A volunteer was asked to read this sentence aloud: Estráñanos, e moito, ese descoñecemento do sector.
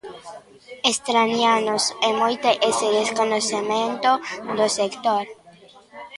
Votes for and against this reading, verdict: 0, 2, rejected